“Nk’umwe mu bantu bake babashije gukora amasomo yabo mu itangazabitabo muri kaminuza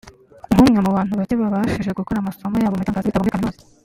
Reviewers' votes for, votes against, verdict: 0, 2, rejected